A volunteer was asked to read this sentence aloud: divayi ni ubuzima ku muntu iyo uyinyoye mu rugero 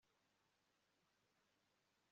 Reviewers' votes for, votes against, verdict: 1, 2, rejected